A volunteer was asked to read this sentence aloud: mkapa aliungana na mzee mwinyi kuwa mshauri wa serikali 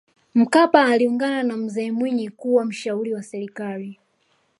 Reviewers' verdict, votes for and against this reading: accepted, 2, 0